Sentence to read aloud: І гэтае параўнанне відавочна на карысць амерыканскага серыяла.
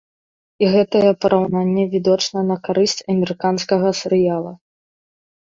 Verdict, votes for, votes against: rejected, 1, 2